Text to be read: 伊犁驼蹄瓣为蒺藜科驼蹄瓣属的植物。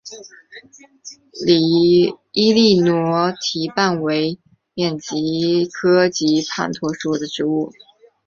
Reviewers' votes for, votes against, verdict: 6, 0, accepted